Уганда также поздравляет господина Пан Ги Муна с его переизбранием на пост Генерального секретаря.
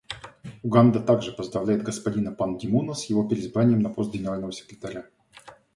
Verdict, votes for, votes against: accepted, 2, 0